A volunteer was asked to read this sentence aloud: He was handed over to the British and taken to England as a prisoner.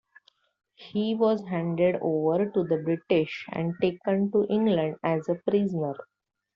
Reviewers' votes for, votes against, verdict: 2, 0, accepted